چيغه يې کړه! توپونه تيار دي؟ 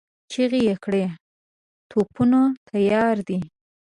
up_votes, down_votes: 2, 0